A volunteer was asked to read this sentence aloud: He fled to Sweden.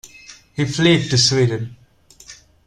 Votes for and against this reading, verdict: 2, 0, accepted